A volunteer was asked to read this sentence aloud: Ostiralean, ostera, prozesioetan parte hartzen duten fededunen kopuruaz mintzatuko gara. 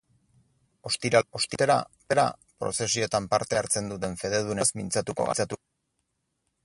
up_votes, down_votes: 0, 6